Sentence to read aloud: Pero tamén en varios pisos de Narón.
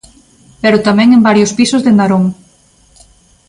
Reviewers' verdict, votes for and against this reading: accepted, 2, 0